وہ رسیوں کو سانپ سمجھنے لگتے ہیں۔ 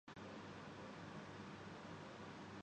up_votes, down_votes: 0, 7